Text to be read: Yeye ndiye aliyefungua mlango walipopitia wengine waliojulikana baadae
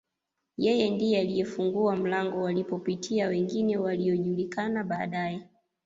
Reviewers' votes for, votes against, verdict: 2, 0, accepted